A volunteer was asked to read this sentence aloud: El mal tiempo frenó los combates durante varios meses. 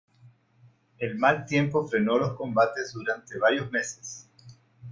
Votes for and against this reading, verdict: 2, 0, accepted